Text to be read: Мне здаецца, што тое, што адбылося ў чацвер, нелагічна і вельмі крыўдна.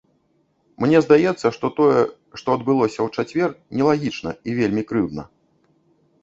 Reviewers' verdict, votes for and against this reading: accepted, 3, 0